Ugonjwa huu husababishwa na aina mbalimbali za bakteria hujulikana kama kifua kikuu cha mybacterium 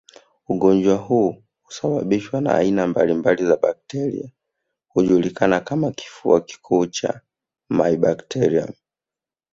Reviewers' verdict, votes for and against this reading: accepted, 2, 0